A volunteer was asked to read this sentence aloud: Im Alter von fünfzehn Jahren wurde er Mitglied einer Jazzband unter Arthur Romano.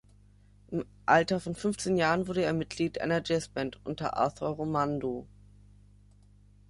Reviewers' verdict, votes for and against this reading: rejected, 0, 2